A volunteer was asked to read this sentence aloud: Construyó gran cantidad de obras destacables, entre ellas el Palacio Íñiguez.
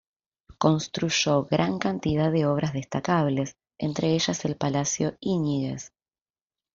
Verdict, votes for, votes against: accepted, 2, 0